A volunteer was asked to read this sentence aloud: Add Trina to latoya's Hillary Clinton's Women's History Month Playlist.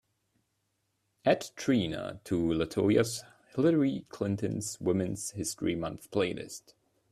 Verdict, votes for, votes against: accepted, 2, 0